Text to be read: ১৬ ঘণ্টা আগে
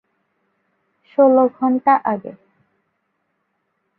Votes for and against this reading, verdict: 0, 2, rejected